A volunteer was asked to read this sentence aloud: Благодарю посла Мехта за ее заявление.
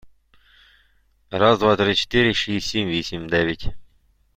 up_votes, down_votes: 0, 2